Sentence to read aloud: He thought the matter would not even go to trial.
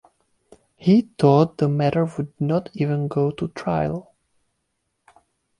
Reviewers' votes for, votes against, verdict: 2, 0, accepted